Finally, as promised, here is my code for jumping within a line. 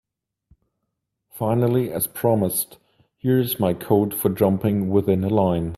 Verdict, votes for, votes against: accepted, 2, 1